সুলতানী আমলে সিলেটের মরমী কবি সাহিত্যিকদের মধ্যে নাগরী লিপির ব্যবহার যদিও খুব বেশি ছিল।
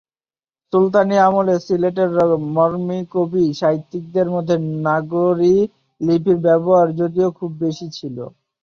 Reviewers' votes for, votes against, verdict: 1, 3, rejected